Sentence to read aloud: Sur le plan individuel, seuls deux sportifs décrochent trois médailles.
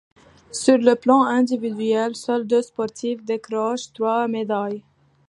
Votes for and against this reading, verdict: 2, 0, accepted